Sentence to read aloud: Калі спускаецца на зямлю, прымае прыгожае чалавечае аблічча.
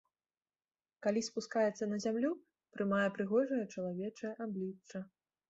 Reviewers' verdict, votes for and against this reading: accepted, 4, 0